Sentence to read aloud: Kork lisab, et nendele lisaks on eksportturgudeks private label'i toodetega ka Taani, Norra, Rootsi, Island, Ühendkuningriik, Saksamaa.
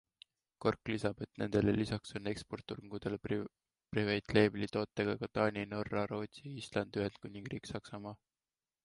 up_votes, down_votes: 1, 2